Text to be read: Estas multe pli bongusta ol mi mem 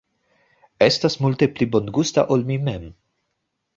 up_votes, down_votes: 2, 0